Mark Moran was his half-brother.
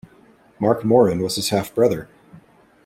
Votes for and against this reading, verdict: 2, 0, accepted